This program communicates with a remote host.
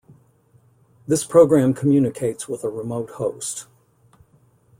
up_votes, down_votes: 2, 0